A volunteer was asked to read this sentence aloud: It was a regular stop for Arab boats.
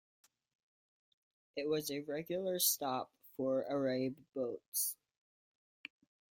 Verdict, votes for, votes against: rejected, 1, 2